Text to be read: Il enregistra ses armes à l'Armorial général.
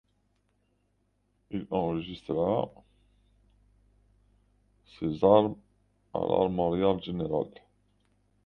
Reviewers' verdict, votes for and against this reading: rejected, 0, 2